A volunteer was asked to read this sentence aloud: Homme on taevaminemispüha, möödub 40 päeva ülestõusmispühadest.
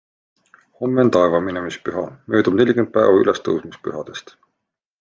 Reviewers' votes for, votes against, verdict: 0, 2, rejected